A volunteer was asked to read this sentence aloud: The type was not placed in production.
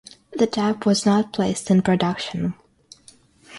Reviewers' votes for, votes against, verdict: 6, 0, accepted